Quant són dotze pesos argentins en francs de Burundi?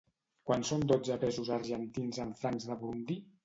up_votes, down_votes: 2, 1